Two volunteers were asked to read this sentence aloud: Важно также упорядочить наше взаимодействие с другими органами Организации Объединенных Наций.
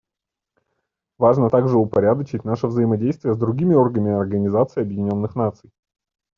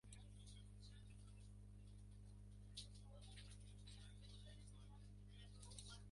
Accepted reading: first